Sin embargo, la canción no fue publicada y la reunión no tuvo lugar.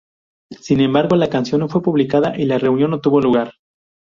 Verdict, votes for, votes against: rejected, 0, 2